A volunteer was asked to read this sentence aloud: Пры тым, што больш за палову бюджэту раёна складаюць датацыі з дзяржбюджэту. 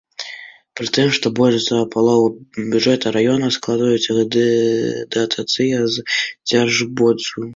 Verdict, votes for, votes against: rejected, 0, 2